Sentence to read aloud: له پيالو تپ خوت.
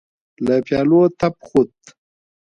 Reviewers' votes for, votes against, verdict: 2, 0, accepted